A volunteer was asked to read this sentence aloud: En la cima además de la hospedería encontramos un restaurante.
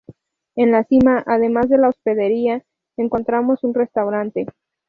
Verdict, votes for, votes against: accepted, 2, 0